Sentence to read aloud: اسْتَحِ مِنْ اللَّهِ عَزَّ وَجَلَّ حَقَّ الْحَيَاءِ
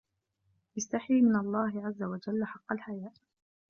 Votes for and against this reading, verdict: 1, 2, rejected